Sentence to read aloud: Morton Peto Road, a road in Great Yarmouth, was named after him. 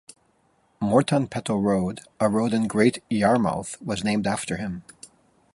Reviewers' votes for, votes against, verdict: 3, 0, accepted